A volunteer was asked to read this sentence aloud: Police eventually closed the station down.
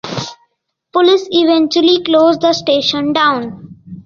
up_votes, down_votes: 2, 0